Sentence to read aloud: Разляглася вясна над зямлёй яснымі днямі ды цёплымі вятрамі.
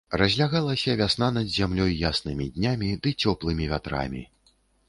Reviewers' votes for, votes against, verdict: 1, 2, rejected